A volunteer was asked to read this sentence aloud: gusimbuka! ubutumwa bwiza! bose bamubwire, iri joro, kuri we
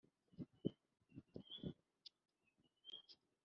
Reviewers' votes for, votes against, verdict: 0, 2, rejected